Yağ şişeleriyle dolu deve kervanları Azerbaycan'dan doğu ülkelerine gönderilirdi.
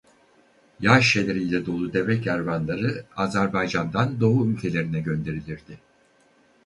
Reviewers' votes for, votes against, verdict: 2, 0, accepted